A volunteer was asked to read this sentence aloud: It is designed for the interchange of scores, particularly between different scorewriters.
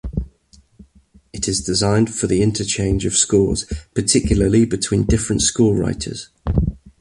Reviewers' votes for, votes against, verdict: 2, 0, accepted